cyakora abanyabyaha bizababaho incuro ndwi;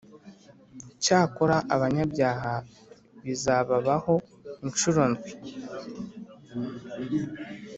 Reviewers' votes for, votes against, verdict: 2, 0, accepted